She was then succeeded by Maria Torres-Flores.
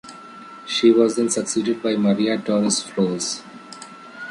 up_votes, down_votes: 2, 0